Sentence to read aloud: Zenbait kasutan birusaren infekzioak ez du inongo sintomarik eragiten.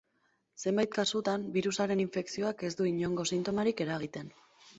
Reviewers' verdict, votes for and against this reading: accepted, 2, 0